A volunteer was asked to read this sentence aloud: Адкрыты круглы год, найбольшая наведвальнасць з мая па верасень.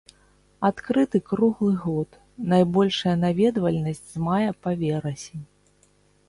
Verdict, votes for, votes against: accepted, 2, 0